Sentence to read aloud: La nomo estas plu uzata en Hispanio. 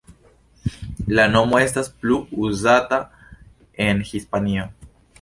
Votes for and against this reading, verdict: 2, 0, accepted